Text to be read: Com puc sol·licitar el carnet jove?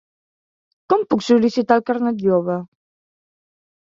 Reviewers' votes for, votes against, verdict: 3, 0, accepted